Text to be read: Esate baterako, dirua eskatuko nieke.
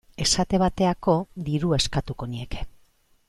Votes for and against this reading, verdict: 1, 2, rejected